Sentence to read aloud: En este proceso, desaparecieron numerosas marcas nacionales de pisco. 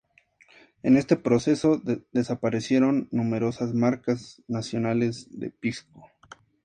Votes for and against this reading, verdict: 4, 0, accepted